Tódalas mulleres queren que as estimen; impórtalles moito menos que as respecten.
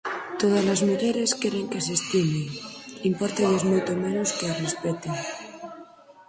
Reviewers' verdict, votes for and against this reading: rejected, 2, 4